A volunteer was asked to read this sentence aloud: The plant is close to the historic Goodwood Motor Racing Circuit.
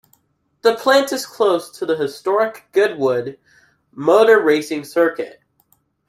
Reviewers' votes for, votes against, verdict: 2, 0, accepted